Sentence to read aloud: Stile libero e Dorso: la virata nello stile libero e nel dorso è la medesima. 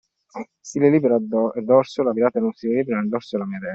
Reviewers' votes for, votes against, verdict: 0, 2, rejected